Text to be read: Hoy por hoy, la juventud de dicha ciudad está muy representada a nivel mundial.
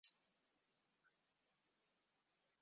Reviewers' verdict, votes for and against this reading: rejected, 0, 2